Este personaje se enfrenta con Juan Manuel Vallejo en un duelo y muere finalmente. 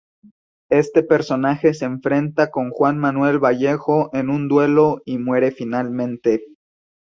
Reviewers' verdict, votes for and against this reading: accepted, 2, 0